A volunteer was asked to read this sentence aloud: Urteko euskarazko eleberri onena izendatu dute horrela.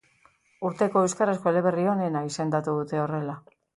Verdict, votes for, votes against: accepted, 3, 0